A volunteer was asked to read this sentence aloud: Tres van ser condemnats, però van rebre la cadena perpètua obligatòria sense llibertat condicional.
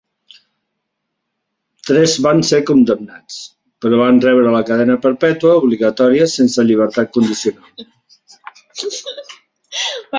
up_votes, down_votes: 4, 0